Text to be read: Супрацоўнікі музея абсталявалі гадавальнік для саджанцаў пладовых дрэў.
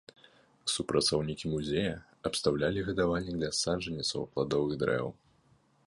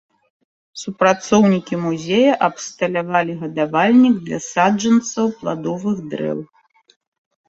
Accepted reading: second